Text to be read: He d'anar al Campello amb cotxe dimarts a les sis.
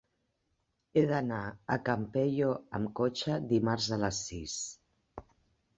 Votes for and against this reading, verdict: 0, 2, rejected